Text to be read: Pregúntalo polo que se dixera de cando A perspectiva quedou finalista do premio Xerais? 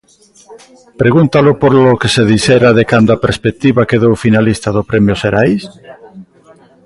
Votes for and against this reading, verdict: 1, 2, rejected